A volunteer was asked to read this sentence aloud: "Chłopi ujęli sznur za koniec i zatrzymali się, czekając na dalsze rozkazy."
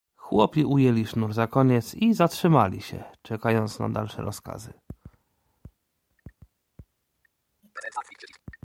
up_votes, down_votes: 2, 0